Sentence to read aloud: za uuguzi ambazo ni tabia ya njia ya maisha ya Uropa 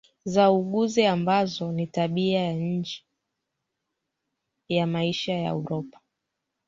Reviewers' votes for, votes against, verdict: 1, 3, rejected